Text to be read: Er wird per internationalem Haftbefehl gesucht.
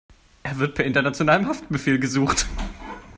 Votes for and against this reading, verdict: 2, 0, accepted